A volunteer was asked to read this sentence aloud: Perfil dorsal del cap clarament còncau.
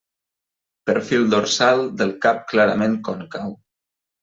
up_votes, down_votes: 0, 2